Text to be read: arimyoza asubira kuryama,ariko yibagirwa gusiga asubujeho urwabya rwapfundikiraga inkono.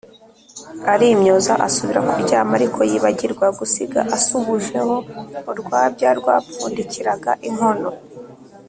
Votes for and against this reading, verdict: 2, 0, accepted